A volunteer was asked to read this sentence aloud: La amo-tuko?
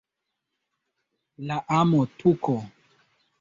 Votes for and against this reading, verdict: 0, 2, rejected